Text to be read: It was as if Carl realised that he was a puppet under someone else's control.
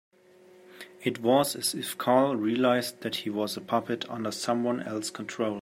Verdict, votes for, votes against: rejected, 0, 2